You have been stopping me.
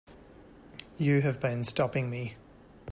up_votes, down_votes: 2, 0